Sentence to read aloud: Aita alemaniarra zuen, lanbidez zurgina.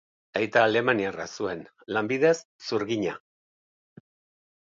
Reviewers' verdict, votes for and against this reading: accepted, 2, 0